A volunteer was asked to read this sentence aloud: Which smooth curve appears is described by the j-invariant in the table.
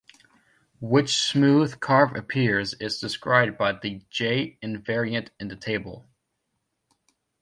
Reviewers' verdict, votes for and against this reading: rejected, 0, 2